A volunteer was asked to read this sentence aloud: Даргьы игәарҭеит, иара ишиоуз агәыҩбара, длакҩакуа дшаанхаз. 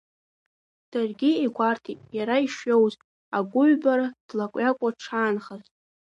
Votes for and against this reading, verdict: 2, 0, accepted